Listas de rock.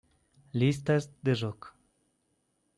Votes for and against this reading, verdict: 2, 0, accepted